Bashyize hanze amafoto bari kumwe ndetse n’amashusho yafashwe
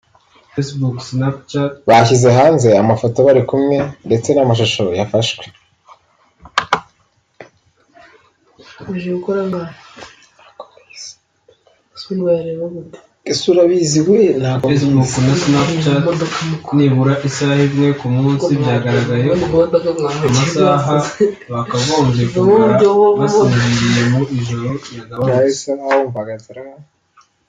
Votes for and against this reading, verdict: 0, 2, rejected